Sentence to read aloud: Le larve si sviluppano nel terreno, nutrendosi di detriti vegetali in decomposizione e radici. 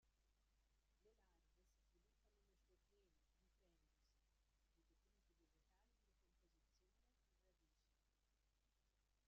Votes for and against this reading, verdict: 0, 2, rejected